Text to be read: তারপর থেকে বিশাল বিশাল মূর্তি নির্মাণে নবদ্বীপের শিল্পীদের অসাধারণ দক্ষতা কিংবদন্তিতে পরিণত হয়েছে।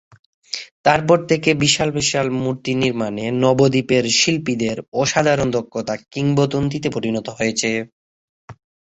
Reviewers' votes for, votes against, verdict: 3, 3, rejected